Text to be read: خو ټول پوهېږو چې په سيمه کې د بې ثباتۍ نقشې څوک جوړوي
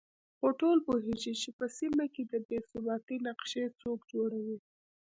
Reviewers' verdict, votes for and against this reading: rejected, 0, 2